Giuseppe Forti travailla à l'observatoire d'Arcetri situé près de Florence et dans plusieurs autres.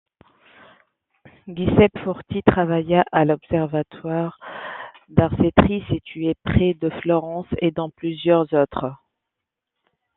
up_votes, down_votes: 2, 0